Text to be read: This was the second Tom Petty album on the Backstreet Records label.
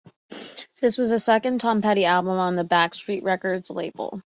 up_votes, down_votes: 2, 0